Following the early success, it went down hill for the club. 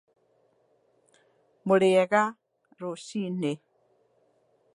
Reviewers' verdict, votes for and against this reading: rejected, 0, 2